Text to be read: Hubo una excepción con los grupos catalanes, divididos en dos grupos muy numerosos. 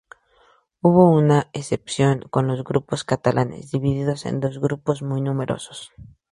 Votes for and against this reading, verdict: 0, 2, rejected